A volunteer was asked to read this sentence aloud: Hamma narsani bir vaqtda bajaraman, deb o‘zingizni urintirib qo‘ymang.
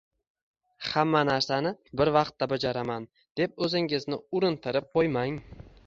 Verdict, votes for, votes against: accepted, 2, 1